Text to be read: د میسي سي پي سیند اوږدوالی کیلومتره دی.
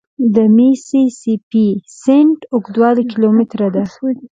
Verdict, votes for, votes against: accepted, 2, 0